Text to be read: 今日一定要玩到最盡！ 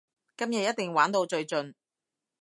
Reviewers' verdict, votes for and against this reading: rejected, 1, 2